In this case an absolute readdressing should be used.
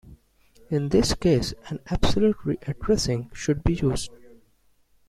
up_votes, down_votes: 2, 0